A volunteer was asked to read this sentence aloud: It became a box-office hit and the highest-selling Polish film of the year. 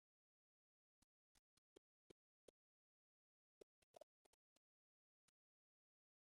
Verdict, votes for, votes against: rejected, 0, 2